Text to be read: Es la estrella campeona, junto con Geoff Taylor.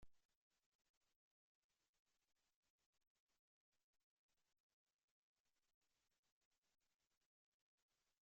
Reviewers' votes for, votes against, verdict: 0, 2, rejected